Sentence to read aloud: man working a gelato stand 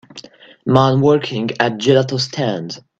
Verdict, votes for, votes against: accepted, 2, 0